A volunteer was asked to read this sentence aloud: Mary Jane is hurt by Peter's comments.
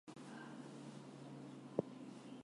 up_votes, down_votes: 0, 4